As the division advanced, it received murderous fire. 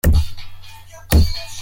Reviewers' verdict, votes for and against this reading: rejected, 0, 2